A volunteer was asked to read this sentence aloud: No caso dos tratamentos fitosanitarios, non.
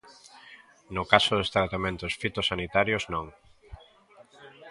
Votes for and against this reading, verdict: 2, 0, accepted